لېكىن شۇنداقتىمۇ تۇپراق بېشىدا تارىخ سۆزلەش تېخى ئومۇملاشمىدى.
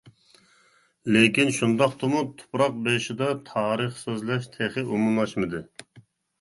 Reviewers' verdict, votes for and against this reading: accepted, 2, 0